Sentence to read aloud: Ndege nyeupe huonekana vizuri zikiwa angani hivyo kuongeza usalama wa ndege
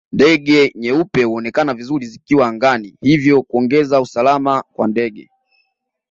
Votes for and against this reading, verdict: 2, 0, accepted